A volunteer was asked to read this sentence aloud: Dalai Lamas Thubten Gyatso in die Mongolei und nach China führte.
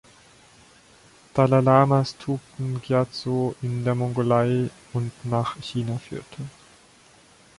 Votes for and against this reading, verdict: 1, 2, rejected